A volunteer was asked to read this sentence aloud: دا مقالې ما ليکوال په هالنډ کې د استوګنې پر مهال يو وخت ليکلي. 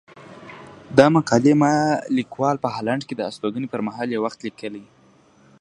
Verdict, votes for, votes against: accepted, 2, 0